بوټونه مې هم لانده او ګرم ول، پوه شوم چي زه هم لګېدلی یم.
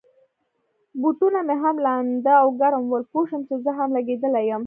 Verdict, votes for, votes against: accepted, 2, 0